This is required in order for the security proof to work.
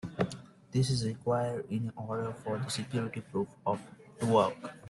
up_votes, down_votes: 0, 2